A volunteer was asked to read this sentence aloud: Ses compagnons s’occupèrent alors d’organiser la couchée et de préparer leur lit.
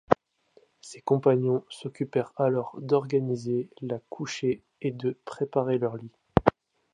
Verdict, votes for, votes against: accepted, 2, 1